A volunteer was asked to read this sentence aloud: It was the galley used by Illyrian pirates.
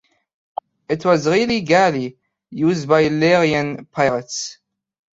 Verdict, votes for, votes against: rejected, 0, 2